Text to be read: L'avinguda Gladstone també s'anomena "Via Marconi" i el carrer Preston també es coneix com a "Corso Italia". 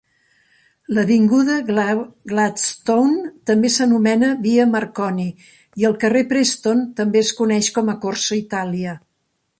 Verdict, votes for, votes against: rejected, 1, 3